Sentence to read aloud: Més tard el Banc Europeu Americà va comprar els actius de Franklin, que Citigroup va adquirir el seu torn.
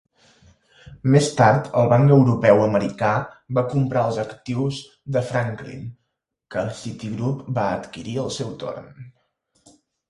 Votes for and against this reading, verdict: 4, 0, accepted